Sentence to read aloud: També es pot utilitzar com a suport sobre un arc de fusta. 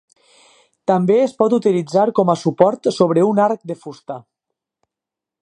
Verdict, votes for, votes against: accepted, 6, 0